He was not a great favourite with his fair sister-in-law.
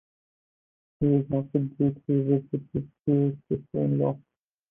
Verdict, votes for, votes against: rejected, 0, 4